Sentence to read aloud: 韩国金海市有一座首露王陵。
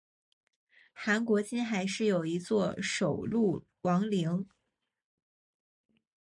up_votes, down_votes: 2, 0